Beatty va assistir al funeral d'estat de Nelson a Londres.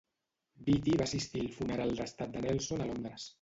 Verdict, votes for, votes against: rejected, 2, 2